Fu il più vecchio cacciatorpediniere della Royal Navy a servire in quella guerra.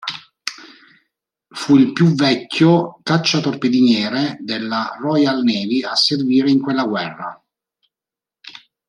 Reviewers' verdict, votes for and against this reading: accepted, 3, 0